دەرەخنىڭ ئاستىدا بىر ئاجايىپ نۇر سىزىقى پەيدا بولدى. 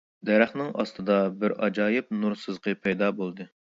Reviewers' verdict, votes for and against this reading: accepted, 2, 0